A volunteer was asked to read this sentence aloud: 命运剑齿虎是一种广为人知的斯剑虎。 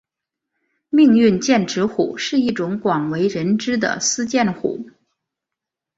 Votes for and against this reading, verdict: 2, 1, accepted